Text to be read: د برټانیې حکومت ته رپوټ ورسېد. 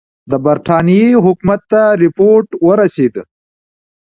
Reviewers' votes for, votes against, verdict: 2, 0, accepted